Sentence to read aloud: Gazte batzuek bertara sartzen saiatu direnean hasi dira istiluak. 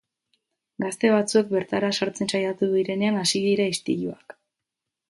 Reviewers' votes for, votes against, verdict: 2, 0, accepted